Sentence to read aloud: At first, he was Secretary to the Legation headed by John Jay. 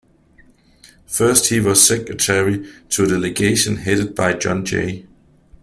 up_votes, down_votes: 1, 2